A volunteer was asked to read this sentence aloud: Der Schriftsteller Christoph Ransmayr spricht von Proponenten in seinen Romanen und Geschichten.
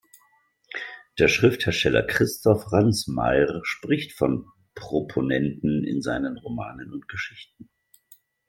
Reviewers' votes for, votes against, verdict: 1, 2, rejected